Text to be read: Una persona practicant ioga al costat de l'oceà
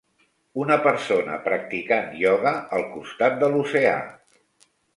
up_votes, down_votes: 3, 0